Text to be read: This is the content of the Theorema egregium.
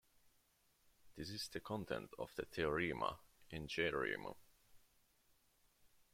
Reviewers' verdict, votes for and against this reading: rejected, 0, 2